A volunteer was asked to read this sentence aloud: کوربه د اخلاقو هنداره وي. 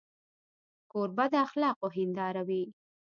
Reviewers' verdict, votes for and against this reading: accepted, 2, 0